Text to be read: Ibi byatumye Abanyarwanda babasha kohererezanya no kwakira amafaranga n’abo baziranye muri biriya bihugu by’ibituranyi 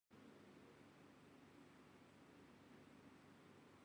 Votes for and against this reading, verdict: 0, 2, rejected